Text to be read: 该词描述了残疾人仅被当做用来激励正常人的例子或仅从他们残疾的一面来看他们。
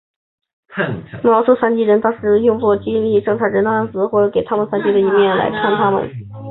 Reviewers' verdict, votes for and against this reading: accepted, 3, 2